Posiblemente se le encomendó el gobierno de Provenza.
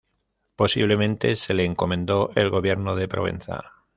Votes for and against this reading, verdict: 1, 2, rejected